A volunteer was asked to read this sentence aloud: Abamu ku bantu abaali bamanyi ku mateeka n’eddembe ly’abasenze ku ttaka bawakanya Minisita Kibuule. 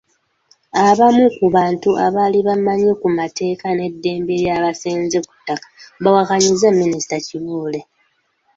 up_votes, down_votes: 1, 2